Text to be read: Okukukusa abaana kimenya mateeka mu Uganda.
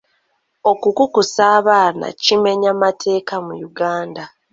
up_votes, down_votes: 2, 0